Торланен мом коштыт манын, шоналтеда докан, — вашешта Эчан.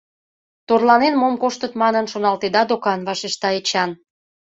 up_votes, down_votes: 2, 0